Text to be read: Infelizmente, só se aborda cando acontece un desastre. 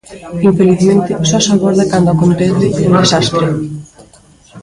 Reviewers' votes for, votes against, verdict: 0, 2, rejected